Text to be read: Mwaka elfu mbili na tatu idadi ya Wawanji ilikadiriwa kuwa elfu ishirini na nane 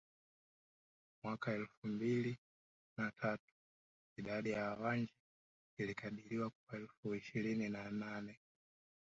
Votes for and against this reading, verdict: 1, 2, rejected